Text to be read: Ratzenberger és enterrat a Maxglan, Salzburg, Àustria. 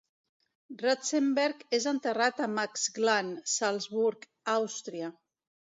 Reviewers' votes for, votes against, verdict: 1, 2, rejected